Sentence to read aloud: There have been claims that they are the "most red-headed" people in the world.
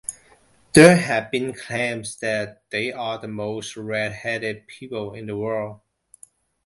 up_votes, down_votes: 2, 1